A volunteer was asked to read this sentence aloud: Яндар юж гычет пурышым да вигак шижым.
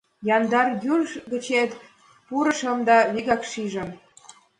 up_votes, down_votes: 1, 2